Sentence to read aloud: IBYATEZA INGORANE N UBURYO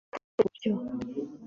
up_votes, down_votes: 1, 2